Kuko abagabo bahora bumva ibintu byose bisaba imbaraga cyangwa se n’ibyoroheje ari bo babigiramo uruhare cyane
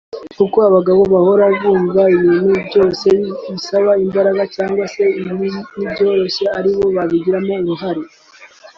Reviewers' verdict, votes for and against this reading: rejected, 1, 2